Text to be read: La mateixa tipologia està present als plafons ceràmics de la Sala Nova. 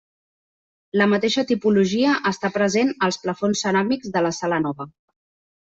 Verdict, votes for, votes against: accepted, 3, 0